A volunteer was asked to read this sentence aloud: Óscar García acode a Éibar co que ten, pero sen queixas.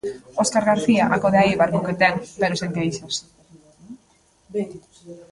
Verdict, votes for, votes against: rejected, 1, 2